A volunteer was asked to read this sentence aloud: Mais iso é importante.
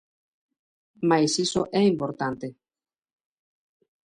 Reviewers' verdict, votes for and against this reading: accepted, 2, 0